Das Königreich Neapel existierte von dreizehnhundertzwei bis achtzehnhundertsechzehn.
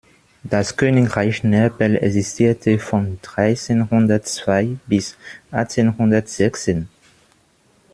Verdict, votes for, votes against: rejected, 1, 2